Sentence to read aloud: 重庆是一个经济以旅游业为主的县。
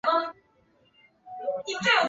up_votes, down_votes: 0, 4